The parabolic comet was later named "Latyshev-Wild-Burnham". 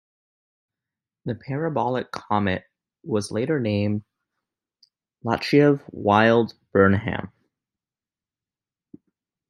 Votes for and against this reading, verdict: 2, 0, accepted